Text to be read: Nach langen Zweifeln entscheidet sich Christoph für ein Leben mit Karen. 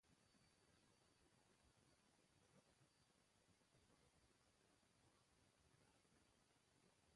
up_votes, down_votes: 0, 2